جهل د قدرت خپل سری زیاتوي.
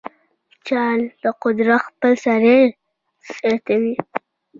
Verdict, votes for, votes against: accepted, 2, 0